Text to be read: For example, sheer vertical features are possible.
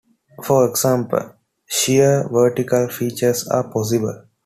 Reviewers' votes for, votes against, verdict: 2, 0, accepted